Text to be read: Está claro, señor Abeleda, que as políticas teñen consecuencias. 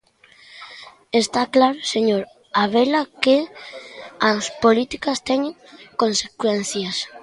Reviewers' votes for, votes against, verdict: 0, 2, rejected